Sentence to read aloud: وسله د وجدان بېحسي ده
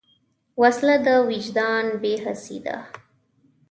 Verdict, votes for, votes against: accepted, 2, 0